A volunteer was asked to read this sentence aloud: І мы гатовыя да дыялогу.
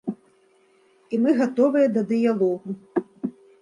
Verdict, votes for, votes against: accepted, 2, 0